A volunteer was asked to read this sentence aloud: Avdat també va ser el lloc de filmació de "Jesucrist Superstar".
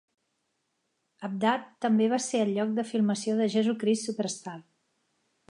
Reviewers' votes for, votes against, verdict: 3, 0, accepted